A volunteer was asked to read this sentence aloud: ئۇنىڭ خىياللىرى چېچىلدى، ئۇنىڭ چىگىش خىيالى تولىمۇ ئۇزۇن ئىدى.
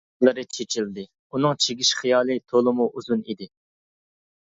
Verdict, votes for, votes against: rejected, 0, 2